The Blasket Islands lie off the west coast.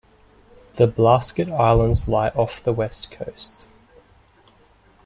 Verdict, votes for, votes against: accepted, 2, 0